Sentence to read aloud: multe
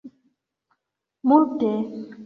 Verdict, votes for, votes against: accepted, 2, 0